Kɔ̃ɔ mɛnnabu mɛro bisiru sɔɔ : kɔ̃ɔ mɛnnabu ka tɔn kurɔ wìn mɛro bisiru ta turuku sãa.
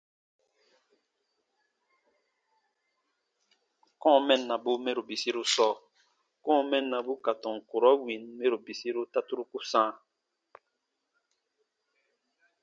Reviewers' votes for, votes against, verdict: 2, 1, accepted